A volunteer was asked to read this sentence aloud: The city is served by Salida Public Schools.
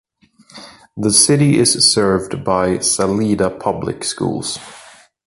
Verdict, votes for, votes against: accepted, 2, 0